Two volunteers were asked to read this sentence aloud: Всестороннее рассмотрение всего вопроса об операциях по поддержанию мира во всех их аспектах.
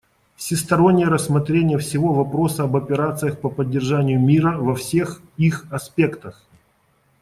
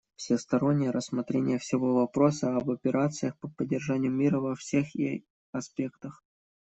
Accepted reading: first